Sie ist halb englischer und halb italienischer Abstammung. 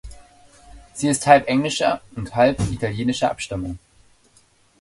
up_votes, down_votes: 2, 0